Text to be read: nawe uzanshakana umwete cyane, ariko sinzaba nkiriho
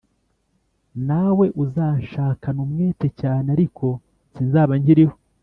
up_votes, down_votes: 4, 0